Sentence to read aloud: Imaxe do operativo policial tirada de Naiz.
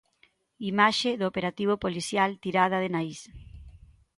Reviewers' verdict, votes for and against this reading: accepted, 2, 0